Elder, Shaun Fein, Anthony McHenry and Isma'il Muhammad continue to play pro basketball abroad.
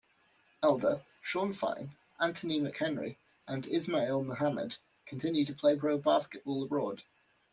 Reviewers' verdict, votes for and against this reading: accepted, 2, 0